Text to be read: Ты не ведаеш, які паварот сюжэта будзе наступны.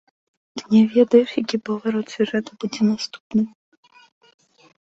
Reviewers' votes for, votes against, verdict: 2, 0, accepted